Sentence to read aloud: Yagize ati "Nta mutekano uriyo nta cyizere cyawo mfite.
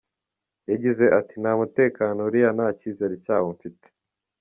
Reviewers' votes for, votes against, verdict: 4, 1, accepted